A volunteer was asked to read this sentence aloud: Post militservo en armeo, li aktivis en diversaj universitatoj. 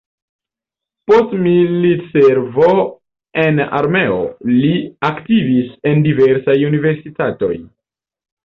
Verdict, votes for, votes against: rejected, 0, 2